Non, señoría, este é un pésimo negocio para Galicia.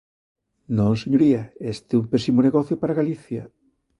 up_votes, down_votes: 2, 0